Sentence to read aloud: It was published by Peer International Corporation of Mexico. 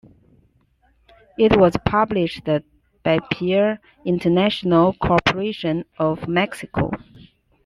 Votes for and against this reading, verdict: 1, 2, rejected